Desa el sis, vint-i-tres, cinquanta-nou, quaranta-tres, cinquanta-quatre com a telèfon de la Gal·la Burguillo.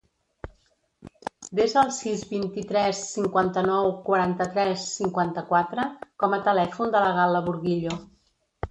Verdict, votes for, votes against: rejected, 1, 2